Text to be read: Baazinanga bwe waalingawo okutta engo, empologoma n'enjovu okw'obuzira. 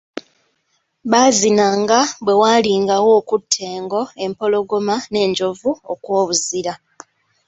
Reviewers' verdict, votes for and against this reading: accepted, 2, 0